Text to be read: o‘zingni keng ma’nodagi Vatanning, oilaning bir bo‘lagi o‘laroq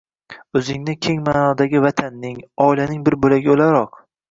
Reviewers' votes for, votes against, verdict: 0, 2, rejected